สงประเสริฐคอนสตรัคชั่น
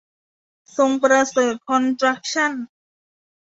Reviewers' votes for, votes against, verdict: 0, 2, rejected